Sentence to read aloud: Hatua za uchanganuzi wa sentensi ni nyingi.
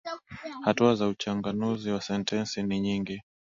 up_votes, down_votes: 15, 0